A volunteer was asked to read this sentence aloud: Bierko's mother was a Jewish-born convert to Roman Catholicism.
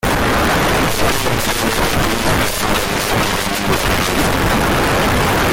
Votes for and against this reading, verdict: 0, 2, rejected